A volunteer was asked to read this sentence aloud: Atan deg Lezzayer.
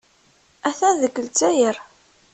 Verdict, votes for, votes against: accepted, 2, 0